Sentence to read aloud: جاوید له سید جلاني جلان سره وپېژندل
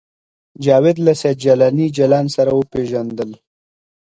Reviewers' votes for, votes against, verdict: 2, 0, accepted